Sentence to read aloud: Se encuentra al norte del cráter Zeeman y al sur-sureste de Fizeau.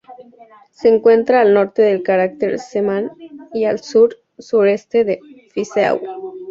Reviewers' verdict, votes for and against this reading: accepted, 2, 0